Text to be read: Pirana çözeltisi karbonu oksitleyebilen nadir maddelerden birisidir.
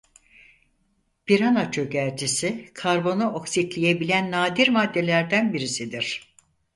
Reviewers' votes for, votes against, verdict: 0, 4, rejected